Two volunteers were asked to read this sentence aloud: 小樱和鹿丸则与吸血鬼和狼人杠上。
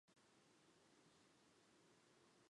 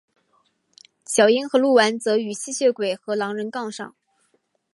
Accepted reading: second